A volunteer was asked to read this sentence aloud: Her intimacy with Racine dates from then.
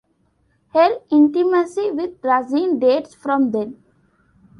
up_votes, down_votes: 2, 1